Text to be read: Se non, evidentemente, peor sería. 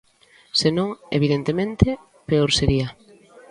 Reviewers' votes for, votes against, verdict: 2, 0, accepted